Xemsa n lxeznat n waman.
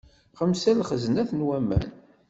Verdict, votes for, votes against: accepted, 2, 0